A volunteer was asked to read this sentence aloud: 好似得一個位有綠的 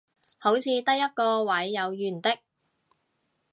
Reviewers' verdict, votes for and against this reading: rejected, 0, 2